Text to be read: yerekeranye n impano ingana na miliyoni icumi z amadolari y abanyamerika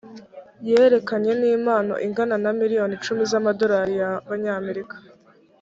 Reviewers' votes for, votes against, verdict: 0, 2, rejected